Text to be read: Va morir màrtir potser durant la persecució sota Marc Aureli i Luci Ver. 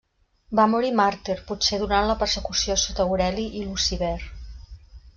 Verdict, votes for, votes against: rejected, 1, 2